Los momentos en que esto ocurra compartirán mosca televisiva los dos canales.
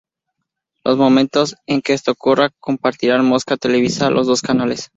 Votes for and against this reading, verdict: 0, 2, rejected